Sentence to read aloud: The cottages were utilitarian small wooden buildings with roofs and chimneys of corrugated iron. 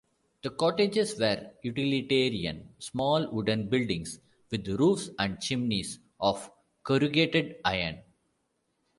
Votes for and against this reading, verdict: 2, 0, accepted